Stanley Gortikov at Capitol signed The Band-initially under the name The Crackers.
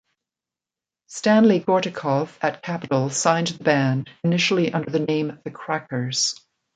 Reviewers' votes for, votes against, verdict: 0, 2, rejected